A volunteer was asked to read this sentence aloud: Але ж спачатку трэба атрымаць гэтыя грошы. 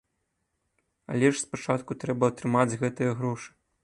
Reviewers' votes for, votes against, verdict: 2, 0, accepted